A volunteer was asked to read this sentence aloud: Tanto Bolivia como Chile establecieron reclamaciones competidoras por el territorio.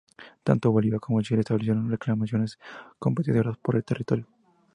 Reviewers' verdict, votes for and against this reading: accepted, 2, 0